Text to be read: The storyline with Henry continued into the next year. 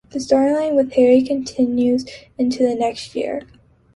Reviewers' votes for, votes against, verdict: 1, 2, rejected